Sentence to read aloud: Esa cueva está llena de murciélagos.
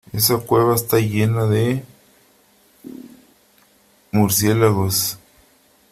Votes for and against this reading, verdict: 2, 1, accepted